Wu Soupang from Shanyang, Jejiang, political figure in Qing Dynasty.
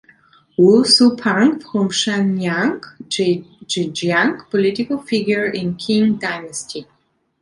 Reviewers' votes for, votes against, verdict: 1, 2, rejected